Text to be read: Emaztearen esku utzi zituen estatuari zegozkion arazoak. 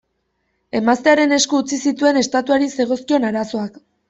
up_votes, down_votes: 2, 0